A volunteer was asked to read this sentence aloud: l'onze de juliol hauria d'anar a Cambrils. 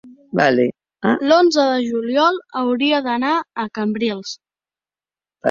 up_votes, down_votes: 0, 3